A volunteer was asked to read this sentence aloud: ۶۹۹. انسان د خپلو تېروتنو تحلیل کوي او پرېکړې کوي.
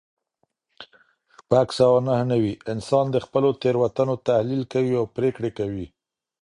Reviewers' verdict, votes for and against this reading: rejected, 0, 2